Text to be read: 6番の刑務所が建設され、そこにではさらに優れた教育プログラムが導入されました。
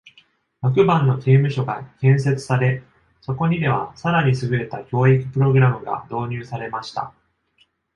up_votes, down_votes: 0, 2